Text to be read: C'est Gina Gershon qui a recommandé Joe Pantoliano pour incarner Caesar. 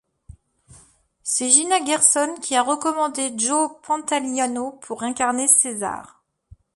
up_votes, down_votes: 2, 1